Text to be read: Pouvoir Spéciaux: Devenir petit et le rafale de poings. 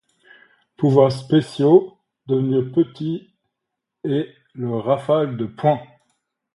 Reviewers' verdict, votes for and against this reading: accepted, 2, 0